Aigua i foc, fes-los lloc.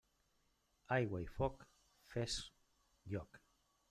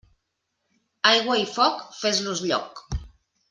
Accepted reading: second